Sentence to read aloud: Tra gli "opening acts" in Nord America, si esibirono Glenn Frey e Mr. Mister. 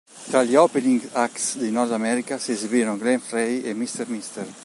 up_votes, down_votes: 1, 2